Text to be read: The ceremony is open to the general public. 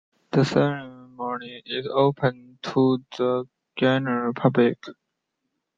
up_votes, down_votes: 2, 0